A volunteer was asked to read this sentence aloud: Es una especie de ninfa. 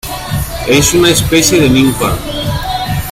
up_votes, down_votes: 0, 2